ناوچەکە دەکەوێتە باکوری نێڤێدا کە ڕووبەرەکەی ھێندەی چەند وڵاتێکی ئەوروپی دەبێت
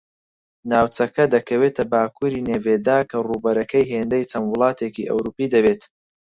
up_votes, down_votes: 4, 0